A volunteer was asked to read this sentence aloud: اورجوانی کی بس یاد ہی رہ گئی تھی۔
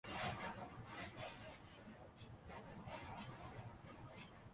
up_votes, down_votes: 1, 2